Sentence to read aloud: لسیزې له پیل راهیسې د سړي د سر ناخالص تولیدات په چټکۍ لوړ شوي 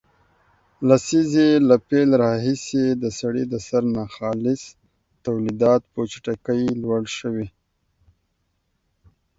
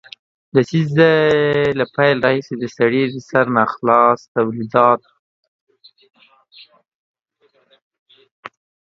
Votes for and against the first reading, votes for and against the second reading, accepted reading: 2, 0, 0, 2, first